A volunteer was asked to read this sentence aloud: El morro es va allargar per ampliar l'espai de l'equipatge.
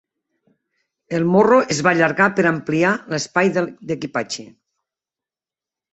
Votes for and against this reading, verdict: 0, 2, rejected